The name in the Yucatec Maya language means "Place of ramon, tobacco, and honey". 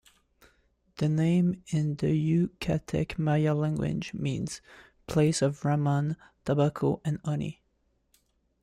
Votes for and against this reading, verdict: 2, 0, accepted